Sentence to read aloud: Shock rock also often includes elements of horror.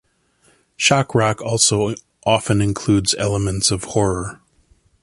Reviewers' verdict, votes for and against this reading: accepted, 2, 0